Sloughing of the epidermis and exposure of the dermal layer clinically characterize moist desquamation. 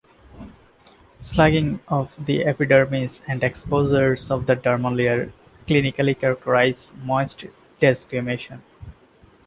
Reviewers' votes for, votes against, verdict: 0, 2, rejected